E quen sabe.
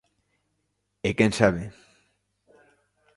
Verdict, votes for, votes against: accepted, 3, 0